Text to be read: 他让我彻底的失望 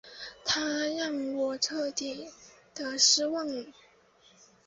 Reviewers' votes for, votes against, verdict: 8, 0, accepted